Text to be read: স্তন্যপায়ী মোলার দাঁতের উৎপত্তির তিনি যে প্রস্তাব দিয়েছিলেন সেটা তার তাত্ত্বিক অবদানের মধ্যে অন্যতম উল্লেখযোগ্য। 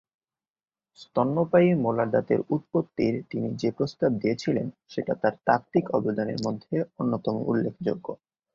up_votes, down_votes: 2, 1